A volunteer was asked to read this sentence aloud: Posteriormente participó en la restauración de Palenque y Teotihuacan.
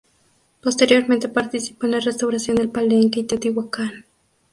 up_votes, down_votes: 0, 2